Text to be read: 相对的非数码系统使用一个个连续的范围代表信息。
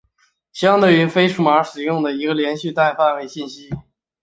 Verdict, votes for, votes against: accepted, 3, 1